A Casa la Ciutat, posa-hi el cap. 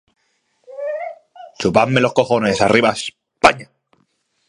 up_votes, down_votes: 0, 2